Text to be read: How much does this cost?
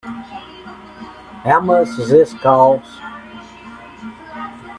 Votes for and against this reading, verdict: 3, 4, rejected